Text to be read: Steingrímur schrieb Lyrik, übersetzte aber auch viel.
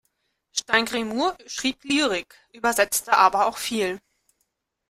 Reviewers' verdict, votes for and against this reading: rejected, 0, 2